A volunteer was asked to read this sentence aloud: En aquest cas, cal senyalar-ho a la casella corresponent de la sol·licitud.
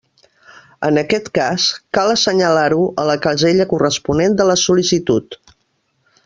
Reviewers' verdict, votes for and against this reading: rejected, 0, 2